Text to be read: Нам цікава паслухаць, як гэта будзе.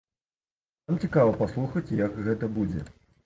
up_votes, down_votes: 1, 2